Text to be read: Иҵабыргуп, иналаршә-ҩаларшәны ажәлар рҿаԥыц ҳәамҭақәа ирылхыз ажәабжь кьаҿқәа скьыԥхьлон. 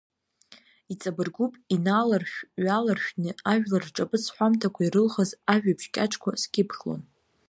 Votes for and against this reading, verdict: 2, 0, accepted